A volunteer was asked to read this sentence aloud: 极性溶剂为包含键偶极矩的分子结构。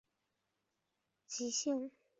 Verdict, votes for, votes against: rejected, 1, 2